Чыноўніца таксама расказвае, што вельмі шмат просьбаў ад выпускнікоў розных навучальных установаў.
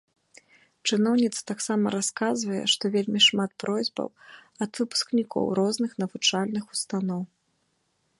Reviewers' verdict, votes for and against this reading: accepted, 2, 1